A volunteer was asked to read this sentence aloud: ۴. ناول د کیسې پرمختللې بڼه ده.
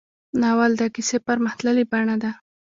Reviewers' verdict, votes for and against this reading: rejected, 0, 2